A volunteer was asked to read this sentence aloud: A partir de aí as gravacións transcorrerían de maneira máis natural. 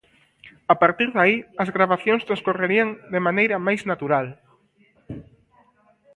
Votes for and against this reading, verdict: 1, 2, rejected